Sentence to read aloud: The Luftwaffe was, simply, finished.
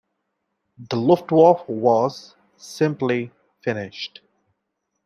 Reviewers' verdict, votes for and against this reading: rejected, 1, 2